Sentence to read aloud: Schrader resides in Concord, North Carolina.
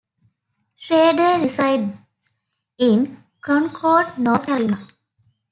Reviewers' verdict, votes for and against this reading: accepted, 2, 1